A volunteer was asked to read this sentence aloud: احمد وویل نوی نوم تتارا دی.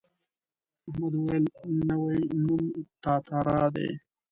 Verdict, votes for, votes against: rejected, 1, 2